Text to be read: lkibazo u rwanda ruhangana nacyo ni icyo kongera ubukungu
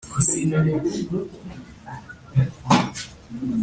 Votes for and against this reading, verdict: 0, 2, rejected